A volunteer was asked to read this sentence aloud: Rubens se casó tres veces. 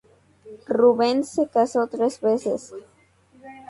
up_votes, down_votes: 2, 0